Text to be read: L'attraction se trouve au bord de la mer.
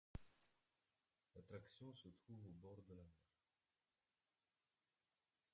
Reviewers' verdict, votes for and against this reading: rejected, 0, 2